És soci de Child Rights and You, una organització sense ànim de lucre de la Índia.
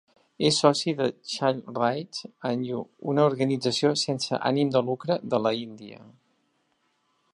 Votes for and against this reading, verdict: 2, 0, accepted